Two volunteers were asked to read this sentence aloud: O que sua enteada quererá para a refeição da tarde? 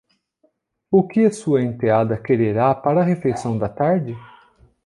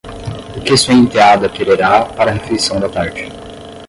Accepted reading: first